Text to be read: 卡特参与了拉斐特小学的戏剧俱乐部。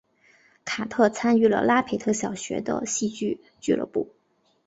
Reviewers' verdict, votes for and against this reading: accepted, 3, 0